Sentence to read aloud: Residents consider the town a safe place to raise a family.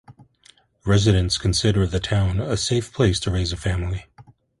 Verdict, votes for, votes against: accepted, 2, 0